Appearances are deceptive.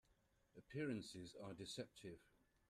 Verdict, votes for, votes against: accepted, 2, 0